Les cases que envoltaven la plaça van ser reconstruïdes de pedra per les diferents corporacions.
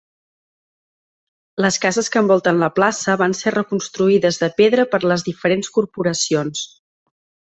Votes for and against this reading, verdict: 1, 2, rejected